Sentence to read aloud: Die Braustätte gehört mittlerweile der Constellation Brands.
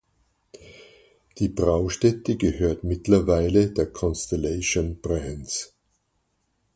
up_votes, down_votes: 4, 0